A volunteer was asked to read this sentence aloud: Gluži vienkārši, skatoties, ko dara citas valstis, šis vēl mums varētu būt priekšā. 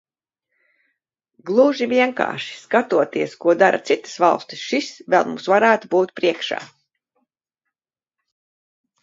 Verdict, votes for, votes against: accepted, 2, 0